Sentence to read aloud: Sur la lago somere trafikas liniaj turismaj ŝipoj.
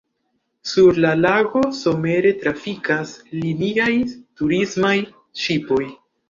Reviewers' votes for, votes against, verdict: 2, 0, accepted